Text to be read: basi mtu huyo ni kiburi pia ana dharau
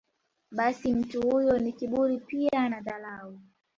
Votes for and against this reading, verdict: 1, 2, rejected